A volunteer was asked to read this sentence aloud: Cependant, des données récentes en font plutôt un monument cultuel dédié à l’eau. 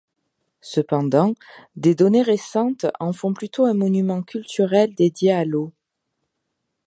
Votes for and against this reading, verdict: 0, 2, rejected